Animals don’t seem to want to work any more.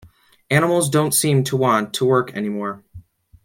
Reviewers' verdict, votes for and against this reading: accepted, 2, 0